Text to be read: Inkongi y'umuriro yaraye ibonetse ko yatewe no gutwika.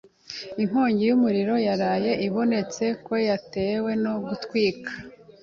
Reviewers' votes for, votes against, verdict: 2, 0, accepted